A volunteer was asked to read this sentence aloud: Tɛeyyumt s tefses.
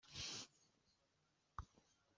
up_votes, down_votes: 1, 2